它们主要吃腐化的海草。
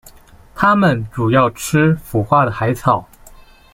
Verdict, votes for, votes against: rejected, 0, 2